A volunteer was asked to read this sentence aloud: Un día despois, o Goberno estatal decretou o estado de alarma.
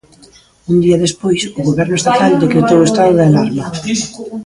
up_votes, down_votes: 0, 2